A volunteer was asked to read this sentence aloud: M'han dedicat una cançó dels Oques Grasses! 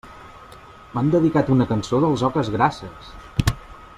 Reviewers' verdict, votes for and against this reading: accepted, 2, 0